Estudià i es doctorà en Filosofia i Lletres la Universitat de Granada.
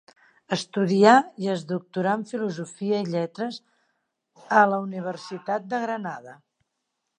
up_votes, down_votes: 1, 2